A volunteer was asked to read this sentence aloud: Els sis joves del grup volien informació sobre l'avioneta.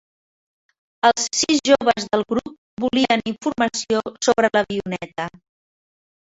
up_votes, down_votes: 1, 2